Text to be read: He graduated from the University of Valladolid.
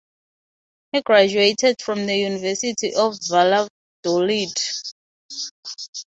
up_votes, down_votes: 3, 0